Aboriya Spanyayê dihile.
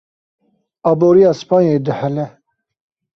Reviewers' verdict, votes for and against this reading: rejected, 0, 2